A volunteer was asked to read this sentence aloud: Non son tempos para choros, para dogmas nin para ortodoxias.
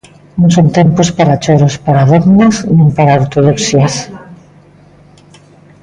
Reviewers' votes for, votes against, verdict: 2, 0, accepted